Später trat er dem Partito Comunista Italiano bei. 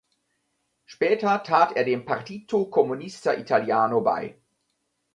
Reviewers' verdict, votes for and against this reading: rejected, 2, 4